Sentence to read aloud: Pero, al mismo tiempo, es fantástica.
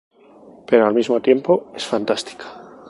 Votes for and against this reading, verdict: 2, 0, accepted